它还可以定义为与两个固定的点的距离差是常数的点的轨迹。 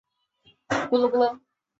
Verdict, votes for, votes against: rejected, 0, 2